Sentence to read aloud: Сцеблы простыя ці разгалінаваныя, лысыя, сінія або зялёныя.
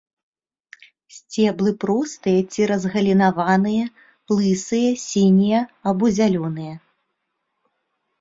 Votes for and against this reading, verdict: 2, 0, accepted